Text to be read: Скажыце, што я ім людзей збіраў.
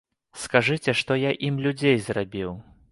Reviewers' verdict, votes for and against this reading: rejected, 0, 2